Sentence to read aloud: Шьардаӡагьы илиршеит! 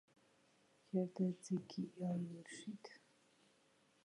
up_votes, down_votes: 1, 2